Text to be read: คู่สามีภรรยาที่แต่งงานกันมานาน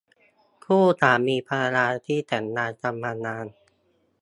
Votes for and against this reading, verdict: 1, 2, rejected